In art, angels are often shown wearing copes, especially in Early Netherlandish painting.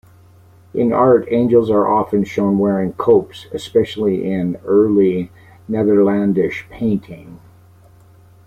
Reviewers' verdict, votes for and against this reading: accepted, 2, 0